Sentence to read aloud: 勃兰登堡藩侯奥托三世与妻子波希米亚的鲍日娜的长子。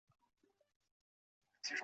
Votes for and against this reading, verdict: 1, 3, rejected